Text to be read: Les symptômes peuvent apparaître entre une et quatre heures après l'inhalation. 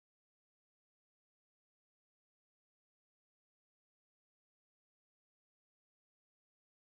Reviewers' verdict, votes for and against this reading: rejected, 0, 2